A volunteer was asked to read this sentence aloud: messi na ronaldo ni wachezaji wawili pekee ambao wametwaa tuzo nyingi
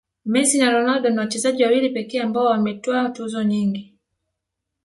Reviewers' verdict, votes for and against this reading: accepted, 12, 1